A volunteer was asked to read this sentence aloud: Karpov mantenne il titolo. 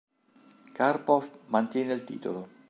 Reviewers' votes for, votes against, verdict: 2, 4, rejected